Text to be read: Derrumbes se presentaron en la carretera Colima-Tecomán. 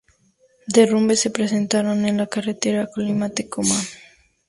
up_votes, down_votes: 2, 0